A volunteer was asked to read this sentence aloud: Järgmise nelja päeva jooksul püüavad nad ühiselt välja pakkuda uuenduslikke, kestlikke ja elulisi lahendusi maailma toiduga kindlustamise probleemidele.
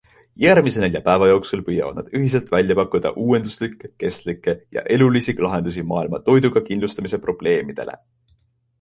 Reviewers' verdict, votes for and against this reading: accepted, 3, 0